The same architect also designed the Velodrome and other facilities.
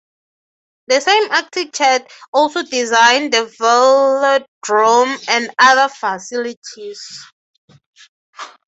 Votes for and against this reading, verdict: 3, 3, rejected